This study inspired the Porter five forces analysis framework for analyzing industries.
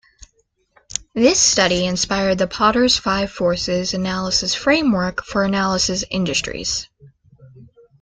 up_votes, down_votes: 0, 2